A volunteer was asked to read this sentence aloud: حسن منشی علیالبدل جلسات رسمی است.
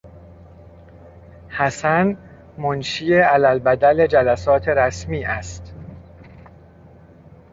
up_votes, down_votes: 2, 0